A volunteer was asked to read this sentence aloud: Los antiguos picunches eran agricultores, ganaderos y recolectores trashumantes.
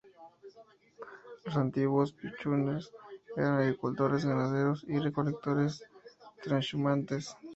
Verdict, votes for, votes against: rejected, 0, 2